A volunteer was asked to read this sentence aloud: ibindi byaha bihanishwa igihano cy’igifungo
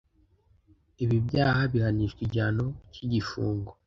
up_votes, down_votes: 0, 2